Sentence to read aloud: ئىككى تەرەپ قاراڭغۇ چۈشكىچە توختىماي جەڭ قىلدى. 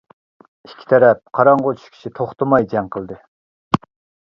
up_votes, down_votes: 2, 0